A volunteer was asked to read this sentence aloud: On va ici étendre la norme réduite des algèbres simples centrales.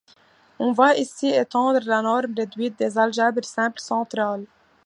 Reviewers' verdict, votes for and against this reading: accepted, 2, 0